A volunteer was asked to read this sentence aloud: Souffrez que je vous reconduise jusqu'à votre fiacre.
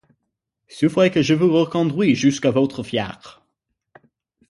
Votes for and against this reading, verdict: 3, 6, rejected